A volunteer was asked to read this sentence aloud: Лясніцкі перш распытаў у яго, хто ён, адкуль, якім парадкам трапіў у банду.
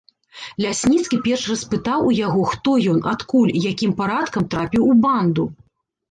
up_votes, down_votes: 2, 0